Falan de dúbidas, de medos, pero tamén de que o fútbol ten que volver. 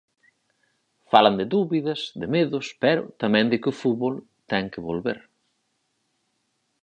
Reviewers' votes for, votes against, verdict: 4, 0, accepted